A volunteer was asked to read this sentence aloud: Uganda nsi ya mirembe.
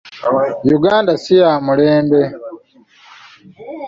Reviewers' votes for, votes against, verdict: 0, 2, rejected